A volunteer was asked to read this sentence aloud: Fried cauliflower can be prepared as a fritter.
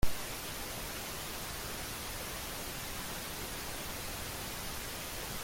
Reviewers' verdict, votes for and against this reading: rejected, 0, 2